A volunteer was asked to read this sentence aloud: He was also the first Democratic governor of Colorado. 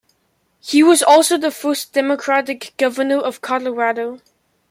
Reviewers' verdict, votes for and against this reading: accepted, 2, 0